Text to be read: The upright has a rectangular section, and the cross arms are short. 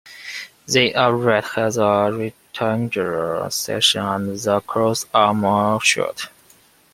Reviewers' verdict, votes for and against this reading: rejected, 0, 2